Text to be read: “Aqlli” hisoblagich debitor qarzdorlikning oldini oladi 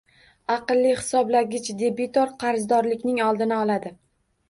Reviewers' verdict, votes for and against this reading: rejected, 1, 2